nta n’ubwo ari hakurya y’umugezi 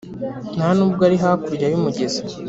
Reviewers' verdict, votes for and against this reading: accepted, 6, 0